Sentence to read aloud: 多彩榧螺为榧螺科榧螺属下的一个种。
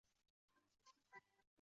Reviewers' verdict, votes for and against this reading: rejected, 0, 2